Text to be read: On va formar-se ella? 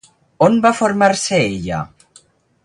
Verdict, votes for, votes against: accepted, 4, 0